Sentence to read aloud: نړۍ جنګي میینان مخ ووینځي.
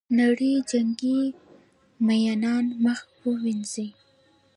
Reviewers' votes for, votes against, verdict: 2, 0, accepted